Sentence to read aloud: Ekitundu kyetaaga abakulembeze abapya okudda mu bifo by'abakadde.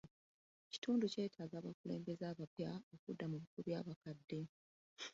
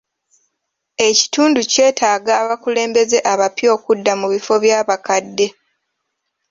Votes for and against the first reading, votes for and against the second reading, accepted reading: 0, 2, 2, 0, second